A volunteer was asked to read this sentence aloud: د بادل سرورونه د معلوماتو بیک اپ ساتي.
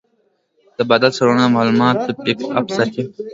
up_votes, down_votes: 2, 1